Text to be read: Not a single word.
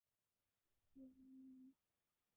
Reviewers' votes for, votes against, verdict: 0, 2, rejected